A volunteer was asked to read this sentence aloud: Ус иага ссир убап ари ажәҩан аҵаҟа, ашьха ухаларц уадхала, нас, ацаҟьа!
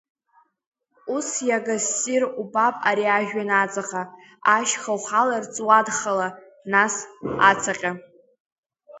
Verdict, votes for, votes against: accepted, 2, 0